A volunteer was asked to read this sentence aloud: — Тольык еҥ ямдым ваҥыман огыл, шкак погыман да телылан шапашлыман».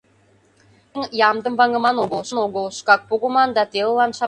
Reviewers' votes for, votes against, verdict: 0, 2, rejected